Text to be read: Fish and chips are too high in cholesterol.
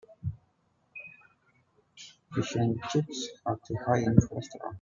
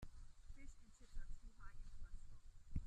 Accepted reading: first